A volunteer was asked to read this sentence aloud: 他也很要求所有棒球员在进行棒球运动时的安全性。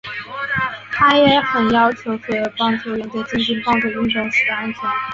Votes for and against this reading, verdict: 3, 1, accepted